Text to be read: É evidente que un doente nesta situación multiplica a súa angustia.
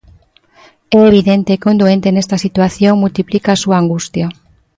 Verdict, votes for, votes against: accepted, 2, 0